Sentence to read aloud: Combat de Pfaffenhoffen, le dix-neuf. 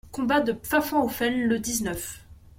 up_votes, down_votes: 2, 1